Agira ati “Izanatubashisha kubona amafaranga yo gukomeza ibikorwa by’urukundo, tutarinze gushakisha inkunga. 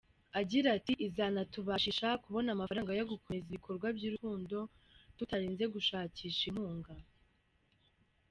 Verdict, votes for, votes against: accepted, 2, 1